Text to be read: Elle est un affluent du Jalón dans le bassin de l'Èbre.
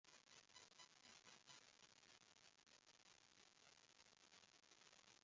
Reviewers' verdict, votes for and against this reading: rejected, 0, 2